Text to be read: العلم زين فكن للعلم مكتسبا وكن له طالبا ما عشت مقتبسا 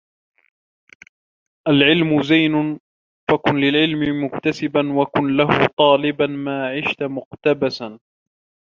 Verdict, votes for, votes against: accepted, 2, 0